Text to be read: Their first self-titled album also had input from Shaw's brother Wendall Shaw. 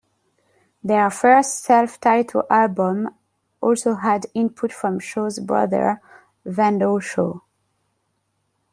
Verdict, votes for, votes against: accepted, 2, 0